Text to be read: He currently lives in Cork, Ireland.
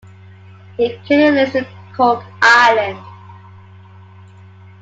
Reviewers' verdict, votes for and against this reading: rejected, 0, 2